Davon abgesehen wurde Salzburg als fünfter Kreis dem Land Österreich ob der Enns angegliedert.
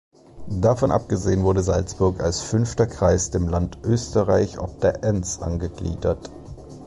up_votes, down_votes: 2, 0